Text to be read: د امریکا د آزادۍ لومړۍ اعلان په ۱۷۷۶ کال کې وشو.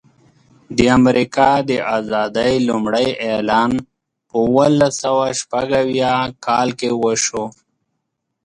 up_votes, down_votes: 0, 2